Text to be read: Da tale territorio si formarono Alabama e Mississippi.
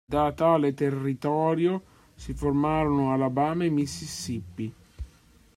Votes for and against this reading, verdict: 1, 2, rejected